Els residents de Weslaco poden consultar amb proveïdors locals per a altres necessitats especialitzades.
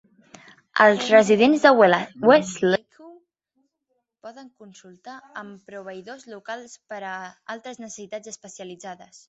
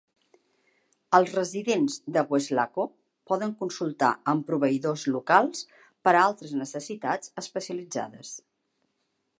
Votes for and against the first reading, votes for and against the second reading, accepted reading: 1, 2, 2, 0, second